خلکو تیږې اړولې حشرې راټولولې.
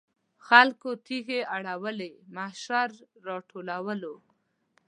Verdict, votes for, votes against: rejected, 1, 2